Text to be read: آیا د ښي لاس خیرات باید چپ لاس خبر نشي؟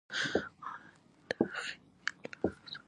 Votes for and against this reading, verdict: 1, 2, rejected